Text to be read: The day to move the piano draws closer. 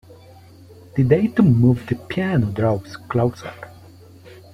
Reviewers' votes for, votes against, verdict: 2, 1, accepted